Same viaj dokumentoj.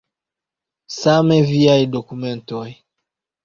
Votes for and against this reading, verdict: 2, 0, accepted